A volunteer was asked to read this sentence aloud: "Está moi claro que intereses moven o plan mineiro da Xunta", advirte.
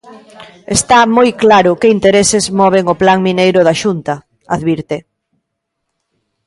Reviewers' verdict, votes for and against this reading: accepted, 2, 0